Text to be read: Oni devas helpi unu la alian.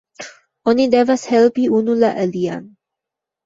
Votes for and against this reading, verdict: 2, 0, accepted